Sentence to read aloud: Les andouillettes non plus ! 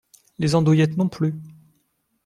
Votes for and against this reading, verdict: 2, 0, accepted